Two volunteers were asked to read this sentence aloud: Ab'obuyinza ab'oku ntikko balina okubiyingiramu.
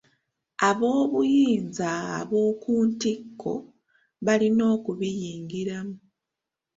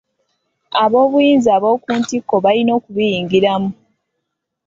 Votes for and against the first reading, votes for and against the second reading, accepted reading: 1, 2, 2, 1, second